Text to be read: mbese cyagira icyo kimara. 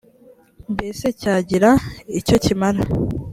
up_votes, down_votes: 3, 1